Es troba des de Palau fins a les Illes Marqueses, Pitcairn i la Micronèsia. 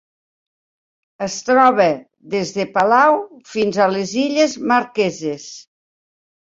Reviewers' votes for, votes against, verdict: 0, 2, rejected